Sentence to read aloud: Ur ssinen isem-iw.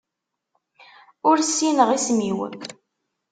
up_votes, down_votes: 0, 2